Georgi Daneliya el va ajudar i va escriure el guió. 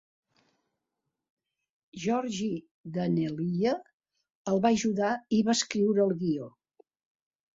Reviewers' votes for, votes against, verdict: 2, 0, accepted